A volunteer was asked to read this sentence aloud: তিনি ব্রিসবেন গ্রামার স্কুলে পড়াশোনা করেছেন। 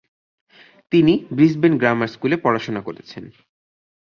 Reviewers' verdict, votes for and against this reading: accepted, 2, 0